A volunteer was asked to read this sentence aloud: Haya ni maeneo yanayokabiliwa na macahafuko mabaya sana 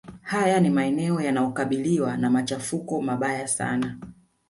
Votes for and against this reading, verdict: 1, 2, rejected